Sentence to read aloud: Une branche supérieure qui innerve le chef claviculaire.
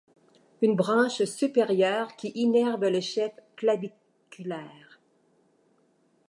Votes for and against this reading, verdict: 2, 1, accepted